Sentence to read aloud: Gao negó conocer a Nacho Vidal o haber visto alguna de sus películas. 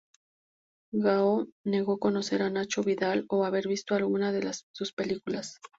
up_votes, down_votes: 0, 4